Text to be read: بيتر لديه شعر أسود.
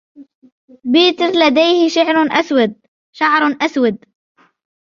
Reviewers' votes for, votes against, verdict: 1, 2, rejected